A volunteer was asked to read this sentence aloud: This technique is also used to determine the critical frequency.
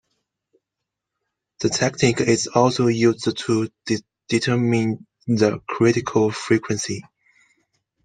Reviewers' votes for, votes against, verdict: 0, 2, rejected